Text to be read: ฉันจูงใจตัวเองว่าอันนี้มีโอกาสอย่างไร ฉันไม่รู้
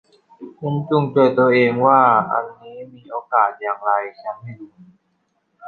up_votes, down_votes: 0, 2